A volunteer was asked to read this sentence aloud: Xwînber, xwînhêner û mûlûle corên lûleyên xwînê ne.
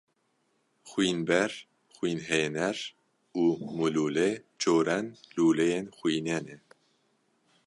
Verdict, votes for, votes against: rejected, 1, 2